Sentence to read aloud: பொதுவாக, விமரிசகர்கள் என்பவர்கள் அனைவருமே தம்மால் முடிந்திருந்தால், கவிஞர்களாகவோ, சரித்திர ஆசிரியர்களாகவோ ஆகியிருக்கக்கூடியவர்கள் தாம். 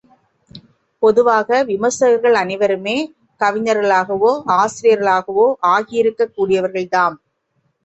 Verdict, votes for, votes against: rejected, 1, 3